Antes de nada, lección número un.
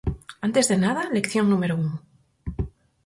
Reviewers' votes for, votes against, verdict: 4, 0, accepted